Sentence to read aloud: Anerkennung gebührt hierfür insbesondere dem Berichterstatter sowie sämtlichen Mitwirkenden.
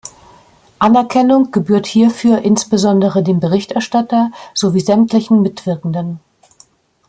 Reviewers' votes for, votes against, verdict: 2, 0, accepted